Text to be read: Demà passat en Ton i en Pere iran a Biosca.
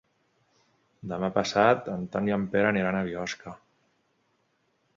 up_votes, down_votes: 1, 2